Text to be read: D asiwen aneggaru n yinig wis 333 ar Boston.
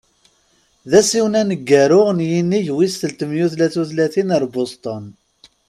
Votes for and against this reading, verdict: 0, 2, rejected